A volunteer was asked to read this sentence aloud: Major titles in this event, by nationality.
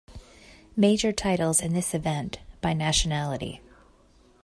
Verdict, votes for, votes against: accepted, 2, 0